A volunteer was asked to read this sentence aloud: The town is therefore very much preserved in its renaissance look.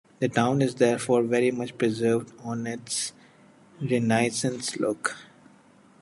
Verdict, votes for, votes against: rejected, 0, 2